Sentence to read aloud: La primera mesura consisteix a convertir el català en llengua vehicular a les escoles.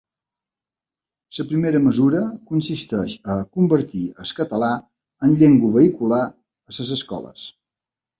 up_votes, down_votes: 0, 3